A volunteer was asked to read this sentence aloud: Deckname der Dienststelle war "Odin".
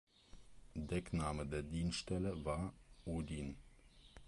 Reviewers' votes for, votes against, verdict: 2, 0, accepted